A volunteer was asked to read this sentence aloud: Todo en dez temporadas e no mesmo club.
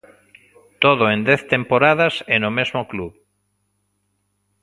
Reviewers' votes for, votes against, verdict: 2, 0, accepted